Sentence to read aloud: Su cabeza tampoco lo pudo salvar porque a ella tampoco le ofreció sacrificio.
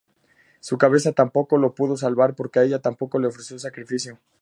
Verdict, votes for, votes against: accepted, 4, 0